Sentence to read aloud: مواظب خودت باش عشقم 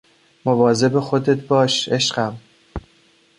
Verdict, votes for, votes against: accepted, 2, 0